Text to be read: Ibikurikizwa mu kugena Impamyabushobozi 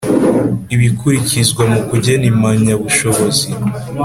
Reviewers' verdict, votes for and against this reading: accepted, 3, 0